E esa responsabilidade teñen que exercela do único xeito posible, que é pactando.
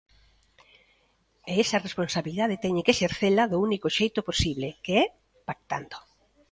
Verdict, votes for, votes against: accepted, 2, 0